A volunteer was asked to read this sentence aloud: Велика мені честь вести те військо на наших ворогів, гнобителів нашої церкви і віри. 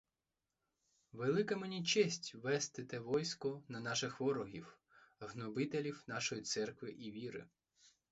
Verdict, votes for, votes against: rejected, 0, 4